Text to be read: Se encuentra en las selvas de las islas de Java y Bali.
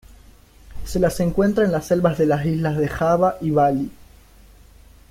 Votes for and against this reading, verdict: 1, 2, rejected